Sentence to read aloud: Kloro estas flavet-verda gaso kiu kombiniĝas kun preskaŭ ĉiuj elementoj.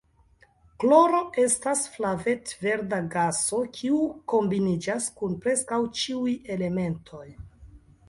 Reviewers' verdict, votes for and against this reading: accepted, 2, 1